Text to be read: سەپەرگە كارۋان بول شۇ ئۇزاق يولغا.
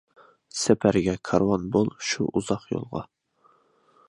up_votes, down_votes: 2, 0